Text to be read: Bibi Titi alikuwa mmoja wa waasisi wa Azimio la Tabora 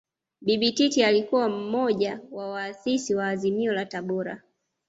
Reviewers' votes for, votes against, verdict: 2, 0, accepted